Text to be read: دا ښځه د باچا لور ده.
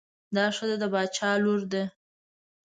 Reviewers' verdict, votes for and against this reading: accepted, 2, 0